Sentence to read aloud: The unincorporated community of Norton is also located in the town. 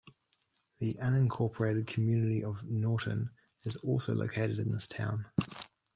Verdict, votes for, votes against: rejected, 1, 2